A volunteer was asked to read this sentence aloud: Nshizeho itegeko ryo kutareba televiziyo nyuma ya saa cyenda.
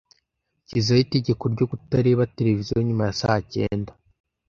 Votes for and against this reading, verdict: 0, 2, rejected